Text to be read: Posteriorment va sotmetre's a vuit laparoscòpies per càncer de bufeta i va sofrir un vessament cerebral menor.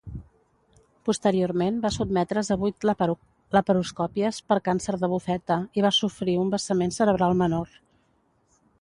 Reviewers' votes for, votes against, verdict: 1, 2, rejected